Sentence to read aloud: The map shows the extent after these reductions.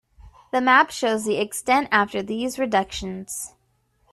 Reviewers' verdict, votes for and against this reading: accepted, 2, 0